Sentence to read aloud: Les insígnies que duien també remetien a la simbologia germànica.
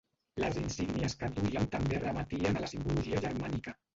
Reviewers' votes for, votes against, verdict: 1, 3, rejected